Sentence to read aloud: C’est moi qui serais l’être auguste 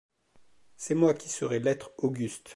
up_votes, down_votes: 2, 0